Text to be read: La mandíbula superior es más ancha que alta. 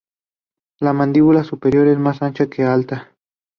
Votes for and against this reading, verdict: 2, 0, accepted